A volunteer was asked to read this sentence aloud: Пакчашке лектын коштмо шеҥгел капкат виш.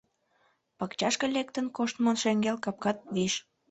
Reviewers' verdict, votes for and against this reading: accepted, 2, 0